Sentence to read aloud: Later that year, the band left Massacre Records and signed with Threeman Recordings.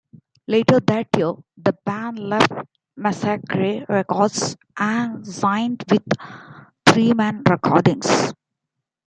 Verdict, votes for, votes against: accepted, 2, 0